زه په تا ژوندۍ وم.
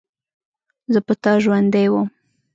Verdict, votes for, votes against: accepted, 2, 0